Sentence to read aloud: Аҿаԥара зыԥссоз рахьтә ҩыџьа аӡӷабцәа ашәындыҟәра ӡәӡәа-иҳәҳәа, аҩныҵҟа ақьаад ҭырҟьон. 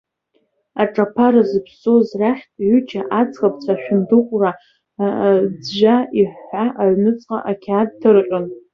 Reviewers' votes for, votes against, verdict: 1, 2, rejected